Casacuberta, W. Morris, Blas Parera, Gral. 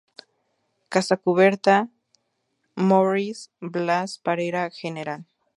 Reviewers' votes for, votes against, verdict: 0, 2, rejected